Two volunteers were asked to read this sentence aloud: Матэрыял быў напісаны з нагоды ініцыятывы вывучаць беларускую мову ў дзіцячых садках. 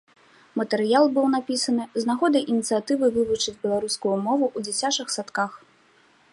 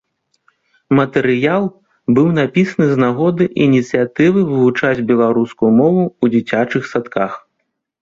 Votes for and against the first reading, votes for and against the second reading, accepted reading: 1, 2, 3, 0, second